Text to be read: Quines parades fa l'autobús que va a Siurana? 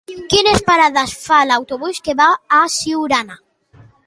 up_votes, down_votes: 2, 0